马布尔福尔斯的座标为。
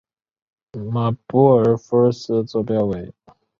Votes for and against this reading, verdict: 0, 2, rejected